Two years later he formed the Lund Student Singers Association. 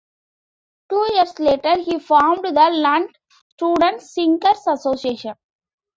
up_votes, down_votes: 2, 0